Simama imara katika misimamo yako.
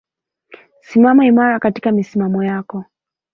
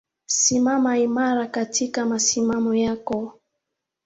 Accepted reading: first